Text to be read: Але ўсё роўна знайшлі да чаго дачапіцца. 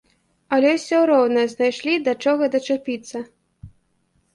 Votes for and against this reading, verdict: 0, 2, rejected